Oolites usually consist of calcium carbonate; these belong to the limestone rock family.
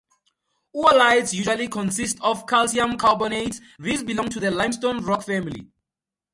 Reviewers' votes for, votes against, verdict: 2, 0, accepted